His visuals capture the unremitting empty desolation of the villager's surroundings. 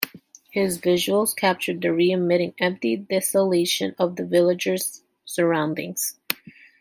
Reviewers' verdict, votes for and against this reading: rejected, 0, 2